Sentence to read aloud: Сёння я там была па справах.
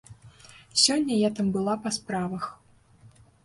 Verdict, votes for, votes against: accepted, 2, 0